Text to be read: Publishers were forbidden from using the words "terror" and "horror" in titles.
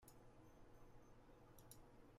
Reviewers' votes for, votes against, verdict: 0, 2, rejected